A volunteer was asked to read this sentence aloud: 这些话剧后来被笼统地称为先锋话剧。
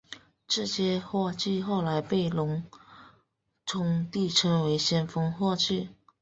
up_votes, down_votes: 0, 2